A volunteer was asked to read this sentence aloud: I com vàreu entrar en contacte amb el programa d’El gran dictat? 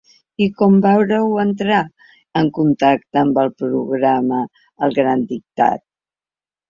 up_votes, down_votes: 1, 2